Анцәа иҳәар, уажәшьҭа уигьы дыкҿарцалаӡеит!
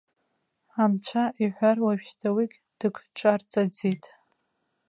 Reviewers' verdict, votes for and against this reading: rejected, 0, 2